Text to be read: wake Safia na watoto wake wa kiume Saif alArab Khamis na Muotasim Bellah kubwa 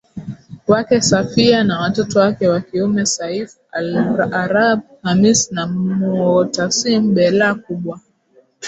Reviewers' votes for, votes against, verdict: 0, 4, rejected